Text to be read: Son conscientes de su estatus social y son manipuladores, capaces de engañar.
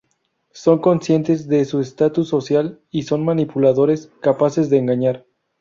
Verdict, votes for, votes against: accepted, 2, 0